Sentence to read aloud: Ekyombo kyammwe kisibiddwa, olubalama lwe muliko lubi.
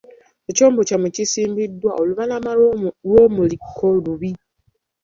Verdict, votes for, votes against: rejected, 0, 2